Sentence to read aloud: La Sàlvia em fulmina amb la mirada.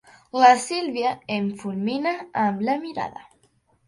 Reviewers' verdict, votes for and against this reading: rejected, 0, 2